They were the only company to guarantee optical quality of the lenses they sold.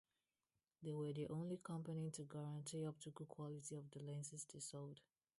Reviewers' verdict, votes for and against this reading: rejected, 0, 2